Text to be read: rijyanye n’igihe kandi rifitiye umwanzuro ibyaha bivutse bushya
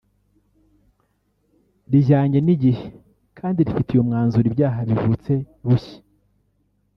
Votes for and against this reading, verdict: 1, 2, rejected